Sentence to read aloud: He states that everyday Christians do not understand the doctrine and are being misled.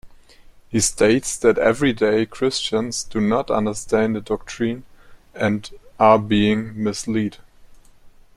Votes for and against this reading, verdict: 0, 2, rejected